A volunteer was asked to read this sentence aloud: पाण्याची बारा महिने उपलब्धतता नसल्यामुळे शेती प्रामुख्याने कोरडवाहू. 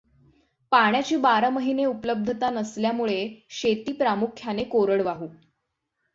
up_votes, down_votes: 6, 0